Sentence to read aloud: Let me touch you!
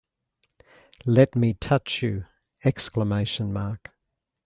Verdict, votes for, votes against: rejected, 2, 5